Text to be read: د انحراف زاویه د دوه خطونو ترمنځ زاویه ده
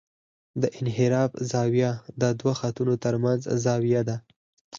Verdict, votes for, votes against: rejected, 2, 4